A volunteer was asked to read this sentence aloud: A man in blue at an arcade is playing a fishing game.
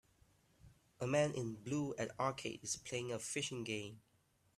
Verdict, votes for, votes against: rejected, 0, 2